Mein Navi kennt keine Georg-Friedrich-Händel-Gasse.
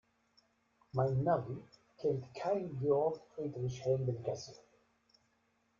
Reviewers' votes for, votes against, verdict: 1, 2, rejected